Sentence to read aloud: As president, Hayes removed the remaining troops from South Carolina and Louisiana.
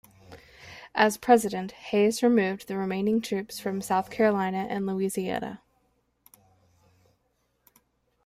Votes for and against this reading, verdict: 2, 1, accepted